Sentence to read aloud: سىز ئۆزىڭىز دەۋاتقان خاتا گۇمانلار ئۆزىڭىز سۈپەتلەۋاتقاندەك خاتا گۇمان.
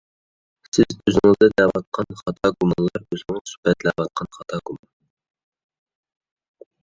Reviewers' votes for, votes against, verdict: 0, 2, rejected